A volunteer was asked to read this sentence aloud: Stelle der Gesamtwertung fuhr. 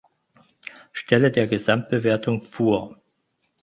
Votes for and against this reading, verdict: 0, 4, rejected